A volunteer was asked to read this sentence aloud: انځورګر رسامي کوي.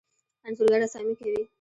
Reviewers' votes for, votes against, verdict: 2, 0, accepted